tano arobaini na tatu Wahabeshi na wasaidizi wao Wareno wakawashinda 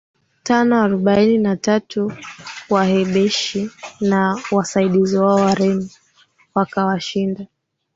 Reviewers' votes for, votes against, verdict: 2, 1, accepted